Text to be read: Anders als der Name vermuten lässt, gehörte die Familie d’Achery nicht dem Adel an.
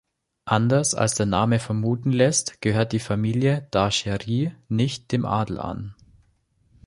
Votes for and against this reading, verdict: 0, 2, rejected